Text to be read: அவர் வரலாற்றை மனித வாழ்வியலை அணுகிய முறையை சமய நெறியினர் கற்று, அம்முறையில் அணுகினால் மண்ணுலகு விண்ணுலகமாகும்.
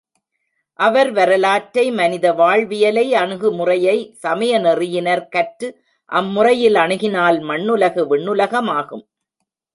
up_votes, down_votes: 0, 2